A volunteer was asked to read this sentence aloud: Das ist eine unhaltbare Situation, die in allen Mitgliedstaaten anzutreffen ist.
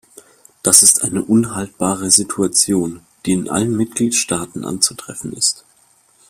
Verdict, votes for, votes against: accepted, 2, 0